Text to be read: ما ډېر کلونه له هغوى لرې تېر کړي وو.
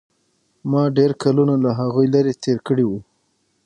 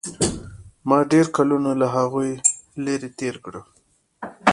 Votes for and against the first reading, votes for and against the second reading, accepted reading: 3, 6, 2, 0, second